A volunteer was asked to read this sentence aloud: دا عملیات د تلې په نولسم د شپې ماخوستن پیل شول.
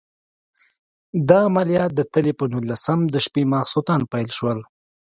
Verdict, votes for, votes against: accepted, 2, 0